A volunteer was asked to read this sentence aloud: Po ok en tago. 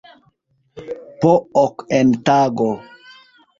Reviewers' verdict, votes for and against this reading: rejected, 1, 2